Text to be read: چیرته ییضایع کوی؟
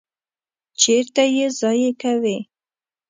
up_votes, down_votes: 2, 0